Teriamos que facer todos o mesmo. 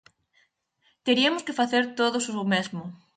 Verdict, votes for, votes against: rejected, 0, 4